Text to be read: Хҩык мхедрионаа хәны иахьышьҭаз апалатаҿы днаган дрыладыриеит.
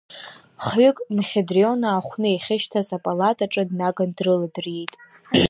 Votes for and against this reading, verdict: 0, 2, rejected